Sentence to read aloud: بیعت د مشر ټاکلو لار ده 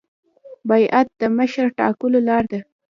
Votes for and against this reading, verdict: 2, 0, accepted